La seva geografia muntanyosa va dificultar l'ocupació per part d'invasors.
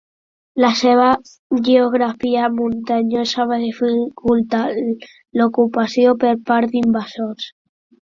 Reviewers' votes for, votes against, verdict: 0, 2, rejected